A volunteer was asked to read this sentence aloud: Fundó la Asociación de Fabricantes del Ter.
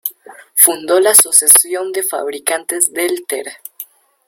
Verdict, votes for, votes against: rejected, 0, 2